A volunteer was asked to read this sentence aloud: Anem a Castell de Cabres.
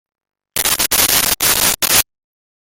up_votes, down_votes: 0, 2